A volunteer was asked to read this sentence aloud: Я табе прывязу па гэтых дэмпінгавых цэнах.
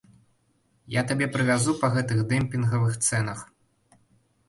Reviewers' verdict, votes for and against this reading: accepted, 2, 0